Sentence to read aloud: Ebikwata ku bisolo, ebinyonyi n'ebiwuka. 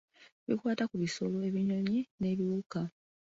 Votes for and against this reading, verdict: 1, 2, rejected